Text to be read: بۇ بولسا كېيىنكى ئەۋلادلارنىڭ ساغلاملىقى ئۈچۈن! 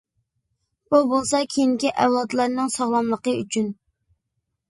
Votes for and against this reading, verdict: 2, 0, accepted